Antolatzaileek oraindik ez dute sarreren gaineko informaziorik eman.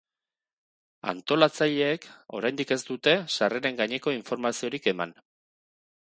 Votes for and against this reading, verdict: 4, 0, accepted